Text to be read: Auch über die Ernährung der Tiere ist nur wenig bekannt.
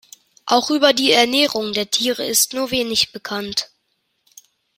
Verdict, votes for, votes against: accepted, 2, 0